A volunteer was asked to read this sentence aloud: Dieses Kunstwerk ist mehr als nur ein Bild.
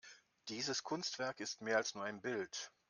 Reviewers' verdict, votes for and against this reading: accepted, 2, 0